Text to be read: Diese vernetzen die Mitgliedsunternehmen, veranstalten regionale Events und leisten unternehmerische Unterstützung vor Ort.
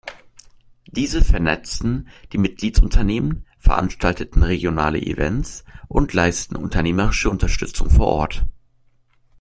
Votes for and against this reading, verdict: 0, 2, rejected